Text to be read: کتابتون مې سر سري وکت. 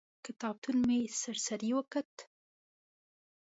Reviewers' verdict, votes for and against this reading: accepted, 2, 0